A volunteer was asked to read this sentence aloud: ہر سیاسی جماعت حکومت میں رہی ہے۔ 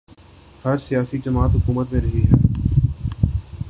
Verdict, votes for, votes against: accepted, 3, 1